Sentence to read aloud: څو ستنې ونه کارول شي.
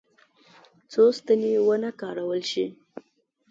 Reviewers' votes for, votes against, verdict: 2, 0, accepted